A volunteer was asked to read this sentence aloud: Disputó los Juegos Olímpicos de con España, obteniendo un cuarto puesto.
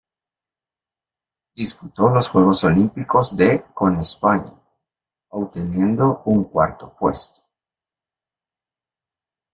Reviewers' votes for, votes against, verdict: 0, 2, rejected